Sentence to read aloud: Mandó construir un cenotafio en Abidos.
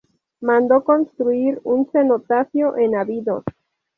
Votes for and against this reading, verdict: 0, 2, rejected